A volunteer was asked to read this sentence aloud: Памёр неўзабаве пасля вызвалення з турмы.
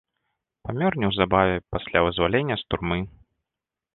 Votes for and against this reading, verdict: 2, 0, accepted